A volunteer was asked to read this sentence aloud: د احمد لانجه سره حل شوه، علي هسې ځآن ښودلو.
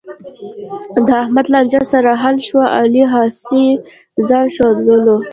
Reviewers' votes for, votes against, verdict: 0, 2, rejected